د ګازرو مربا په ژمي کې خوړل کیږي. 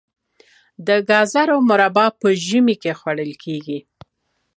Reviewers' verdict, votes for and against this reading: accepted, 2, 0